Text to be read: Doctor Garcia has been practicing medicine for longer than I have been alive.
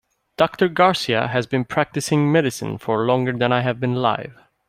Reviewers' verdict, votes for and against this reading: accepted, 2, 0